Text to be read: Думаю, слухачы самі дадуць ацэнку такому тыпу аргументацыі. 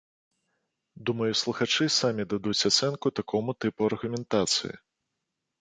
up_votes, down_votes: 2, 0